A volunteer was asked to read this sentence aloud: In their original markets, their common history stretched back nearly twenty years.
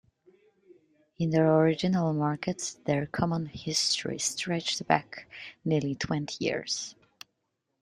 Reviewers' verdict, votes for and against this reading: accepted, 2, 0